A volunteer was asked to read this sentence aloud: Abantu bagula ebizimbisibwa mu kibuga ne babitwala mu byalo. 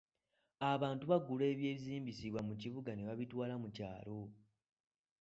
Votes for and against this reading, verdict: 2, 3, rejected